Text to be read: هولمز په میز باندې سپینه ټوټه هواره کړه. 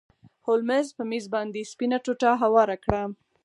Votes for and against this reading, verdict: 4, 0, accepted